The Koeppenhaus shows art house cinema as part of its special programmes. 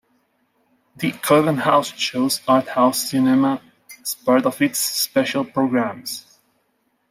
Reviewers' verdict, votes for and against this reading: rejected, 1, 2